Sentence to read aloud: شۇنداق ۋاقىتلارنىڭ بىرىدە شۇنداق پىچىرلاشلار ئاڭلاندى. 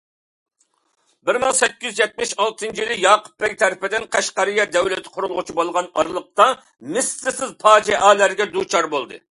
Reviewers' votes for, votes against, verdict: 0, 2, rejected